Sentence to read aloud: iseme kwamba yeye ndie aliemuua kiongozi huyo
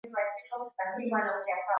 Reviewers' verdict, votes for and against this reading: rejected, 0, 2